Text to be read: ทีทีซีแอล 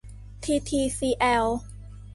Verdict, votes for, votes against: accepted, 2, 0